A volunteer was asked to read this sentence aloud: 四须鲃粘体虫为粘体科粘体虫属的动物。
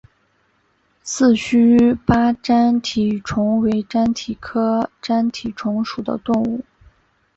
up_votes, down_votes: 6, 1